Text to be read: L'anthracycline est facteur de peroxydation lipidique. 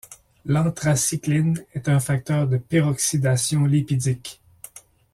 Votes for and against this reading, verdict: 1, 2, rejected